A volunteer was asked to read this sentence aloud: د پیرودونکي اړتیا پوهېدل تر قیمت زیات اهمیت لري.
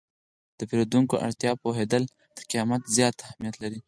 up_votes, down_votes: 4, 0